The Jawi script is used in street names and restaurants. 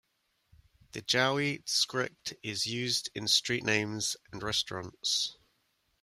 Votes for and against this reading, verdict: 0, 2, rejected